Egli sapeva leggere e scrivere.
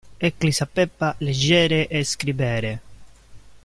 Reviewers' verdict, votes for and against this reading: rejected, 0, 2